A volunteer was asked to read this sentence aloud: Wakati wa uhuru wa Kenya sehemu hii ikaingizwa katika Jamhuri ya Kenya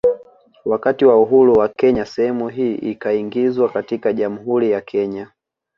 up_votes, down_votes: 2, 1